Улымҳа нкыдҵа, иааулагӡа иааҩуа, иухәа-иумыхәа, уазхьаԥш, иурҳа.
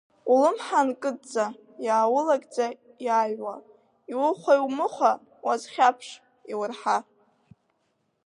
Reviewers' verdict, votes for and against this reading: accepted, 4, 0